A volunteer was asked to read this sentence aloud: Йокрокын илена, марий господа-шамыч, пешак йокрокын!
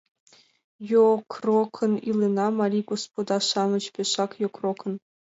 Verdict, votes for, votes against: accepted, 2, 1